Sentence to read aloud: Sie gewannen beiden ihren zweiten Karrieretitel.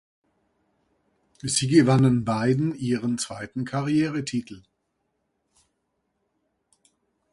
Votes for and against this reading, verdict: 2, 0, accepted